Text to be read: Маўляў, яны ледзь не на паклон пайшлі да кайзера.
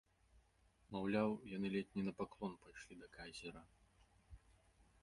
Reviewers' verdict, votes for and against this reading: rejected, 1, 2